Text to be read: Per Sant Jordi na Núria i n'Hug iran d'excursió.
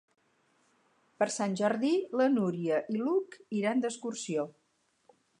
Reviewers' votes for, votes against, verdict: 0, 4, rejected